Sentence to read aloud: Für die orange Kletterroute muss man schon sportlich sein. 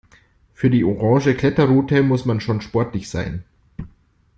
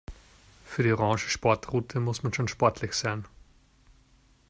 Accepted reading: first